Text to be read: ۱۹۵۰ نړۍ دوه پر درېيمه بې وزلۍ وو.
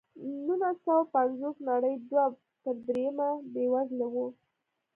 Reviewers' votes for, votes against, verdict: 0, 2, rejected